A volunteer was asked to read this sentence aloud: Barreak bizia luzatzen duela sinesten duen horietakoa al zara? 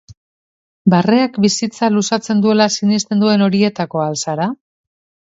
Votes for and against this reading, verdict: 1, 2, rejected